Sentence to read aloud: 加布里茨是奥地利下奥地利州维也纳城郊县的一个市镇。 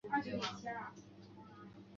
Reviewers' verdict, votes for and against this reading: rejected, 1, 2